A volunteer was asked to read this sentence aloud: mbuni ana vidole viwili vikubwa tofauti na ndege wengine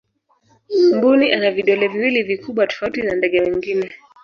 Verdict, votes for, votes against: rejected, 0, 2